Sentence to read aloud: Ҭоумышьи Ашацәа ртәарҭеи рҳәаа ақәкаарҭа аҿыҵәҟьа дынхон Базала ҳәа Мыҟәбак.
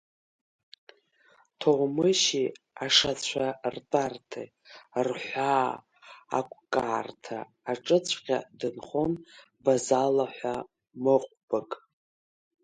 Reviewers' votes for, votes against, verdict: 1, 2, rejected